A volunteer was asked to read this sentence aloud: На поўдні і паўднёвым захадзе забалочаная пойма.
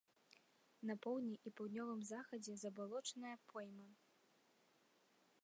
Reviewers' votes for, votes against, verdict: 1, 2, rejected